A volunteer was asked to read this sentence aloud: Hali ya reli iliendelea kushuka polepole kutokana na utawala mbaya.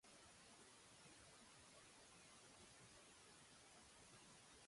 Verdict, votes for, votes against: rejected, 0, 2